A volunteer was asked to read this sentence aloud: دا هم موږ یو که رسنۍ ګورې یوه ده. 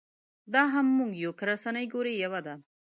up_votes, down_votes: 2, 1